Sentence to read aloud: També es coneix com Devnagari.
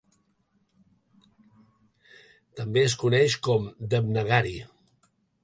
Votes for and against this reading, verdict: 2, 0, accepted